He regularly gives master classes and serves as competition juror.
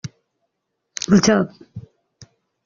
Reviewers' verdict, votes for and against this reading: rejected, 0, 2